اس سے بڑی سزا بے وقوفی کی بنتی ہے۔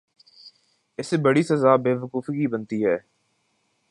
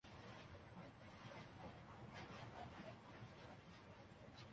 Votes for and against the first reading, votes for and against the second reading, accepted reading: 2, 0, 0, 2, first